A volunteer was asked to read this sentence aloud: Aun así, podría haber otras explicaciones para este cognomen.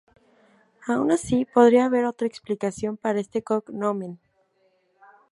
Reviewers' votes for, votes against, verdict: 0, 4, rejected